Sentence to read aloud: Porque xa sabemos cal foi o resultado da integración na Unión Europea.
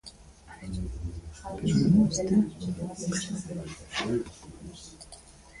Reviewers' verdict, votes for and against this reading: rejected, 0, 2